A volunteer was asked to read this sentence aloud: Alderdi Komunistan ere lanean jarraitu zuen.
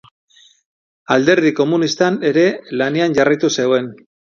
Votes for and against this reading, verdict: 0, 2, rejected